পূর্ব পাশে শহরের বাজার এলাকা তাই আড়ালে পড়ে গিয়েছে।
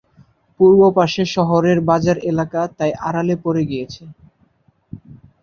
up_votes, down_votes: 2, 0